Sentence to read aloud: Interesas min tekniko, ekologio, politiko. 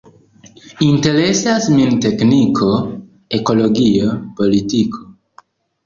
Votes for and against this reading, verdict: 2, 0, accepted